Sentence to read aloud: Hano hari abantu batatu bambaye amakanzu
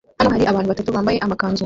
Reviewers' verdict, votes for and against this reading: rejected, 0, 2